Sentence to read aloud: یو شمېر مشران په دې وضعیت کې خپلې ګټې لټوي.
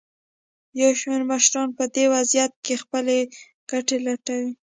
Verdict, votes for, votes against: accepted, 2, 0